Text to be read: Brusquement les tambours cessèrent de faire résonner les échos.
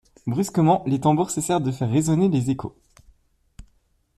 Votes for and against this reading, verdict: 2, 0, accepted